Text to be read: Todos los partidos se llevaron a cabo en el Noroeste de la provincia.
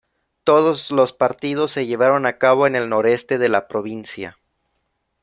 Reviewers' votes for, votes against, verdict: 0, 2, rejected